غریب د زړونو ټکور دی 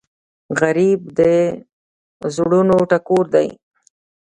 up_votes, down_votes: 2, 0